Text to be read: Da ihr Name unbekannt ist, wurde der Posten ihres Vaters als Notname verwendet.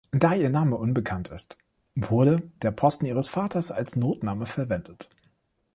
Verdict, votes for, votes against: accepted, 2, 0